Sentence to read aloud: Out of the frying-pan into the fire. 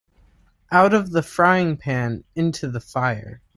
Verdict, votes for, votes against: accepted, 2, 0